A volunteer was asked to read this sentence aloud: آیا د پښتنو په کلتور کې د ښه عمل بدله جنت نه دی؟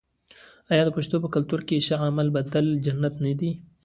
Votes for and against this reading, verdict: 2, 1, accepted